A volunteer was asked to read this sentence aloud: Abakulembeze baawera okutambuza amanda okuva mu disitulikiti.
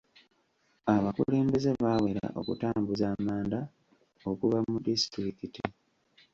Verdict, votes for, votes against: accepted, 2, 0